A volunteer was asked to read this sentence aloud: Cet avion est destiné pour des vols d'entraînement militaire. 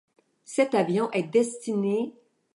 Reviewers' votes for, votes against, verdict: 0, 2, rejected